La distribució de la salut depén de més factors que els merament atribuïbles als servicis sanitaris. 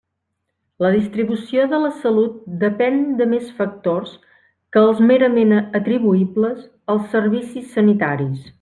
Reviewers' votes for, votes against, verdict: 3, 0, accepted